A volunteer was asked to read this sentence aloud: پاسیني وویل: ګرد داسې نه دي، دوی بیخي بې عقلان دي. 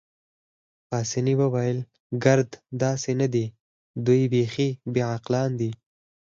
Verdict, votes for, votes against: accepted, 4, 2